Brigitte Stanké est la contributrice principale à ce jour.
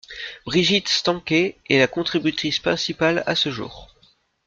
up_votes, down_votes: 2, 0